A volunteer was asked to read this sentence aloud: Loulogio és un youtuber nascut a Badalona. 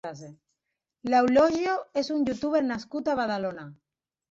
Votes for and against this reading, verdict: 3, 0, accepted